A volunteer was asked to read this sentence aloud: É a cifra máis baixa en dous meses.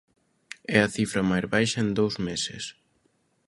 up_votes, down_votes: 2, 0